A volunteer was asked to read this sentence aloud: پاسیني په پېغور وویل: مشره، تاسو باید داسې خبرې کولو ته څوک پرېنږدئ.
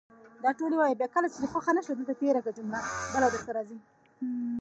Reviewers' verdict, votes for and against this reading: rejected, 1, 2